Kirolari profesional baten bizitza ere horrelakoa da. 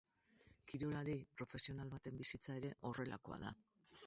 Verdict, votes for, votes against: rejected, 2, 4